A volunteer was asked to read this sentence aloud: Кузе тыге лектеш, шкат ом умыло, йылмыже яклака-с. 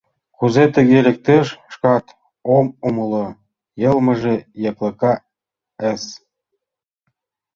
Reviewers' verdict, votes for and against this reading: accepted, 2, 0